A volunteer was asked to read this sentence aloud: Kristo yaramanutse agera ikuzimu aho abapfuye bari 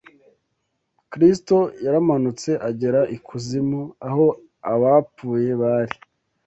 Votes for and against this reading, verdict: 2, 0, accepted